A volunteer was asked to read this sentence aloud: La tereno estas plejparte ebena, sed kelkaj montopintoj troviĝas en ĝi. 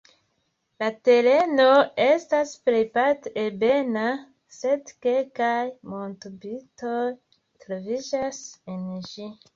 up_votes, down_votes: 2, 0